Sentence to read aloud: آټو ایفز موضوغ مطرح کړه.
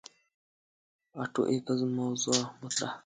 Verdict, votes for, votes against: accepted, 2, 0